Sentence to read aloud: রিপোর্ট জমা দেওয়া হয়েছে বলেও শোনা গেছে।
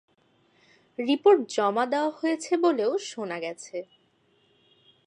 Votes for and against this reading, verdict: 2, 1, accepted